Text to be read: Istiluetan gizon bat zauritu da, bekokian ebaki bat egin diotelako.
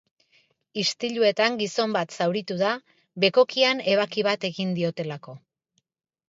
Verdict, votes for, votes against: accepted, 2, 0